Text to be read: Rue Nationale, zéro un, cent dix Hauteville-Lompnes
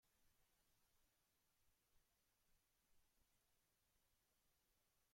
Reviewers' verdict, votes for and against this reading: rejected, 0, 2